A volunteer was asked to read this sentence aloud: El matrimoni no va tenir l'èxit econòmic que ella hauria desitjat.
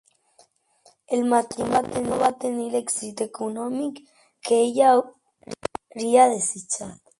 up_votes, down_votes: 0, 2